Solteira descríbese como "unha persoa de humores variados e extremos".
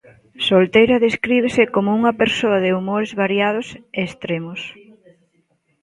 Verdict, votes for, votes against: rejected, 1, 2